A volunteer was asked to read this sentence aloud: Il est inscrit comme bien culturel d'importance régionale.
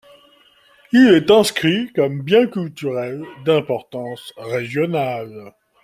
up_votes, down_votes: 2, 1